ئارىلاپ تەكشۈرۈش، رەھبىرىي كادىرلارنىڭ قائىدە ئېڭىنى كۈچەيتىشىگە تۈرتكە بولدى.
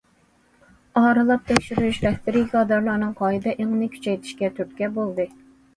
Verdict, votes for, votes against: rejected, 1, 2